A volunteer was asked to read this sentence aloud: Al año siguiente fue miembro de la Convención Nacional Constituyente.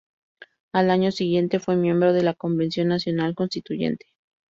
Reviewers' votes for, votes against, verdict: 2, 0, accepted